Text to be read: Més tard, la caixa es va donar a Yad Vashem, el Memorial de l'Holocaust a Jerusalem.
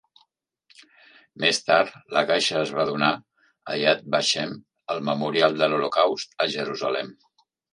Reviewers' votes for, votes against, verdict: 2, 0, accepted